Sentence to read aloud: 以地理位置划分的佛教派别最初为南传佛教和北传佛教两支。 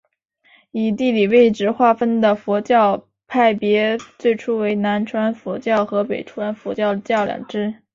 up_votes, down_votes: 5, 4